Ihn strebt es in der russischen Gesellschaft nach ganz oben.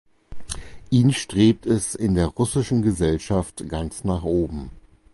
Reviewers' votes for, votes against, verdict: 0, 4, rejected